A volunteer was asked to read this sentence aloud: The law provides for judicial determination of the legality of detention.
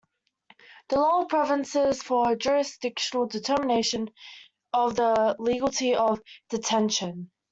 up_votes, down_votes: 0, 2